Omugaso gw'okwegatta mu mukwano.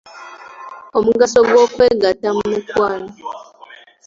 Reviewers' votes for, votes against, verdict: 2, 0, accepted